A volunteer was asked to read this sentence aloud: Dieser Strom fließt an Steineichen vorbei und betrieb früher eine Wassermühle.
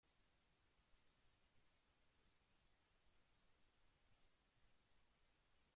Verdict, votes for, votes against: rejected, 0, 2